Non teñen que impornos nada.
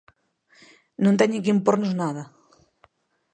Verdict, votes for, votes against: accepted, 3, 0